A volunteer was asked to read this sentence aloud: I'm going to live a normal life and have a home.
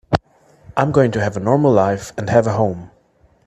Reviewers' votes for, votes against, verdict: 0, 2, rejected